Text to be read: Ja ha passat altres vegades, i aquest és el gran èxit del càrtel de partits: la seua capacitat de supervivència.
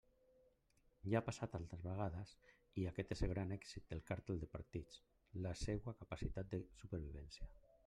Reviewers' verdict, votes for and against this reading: rejected, 1, 2